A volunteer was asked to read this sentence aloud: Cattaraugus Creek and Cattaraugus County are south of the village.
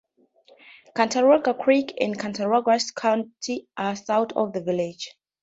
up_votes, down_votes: 2, 0